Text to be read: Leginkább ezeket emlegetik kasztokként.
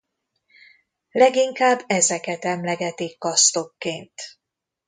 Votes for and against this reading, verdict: 2, 0, accepted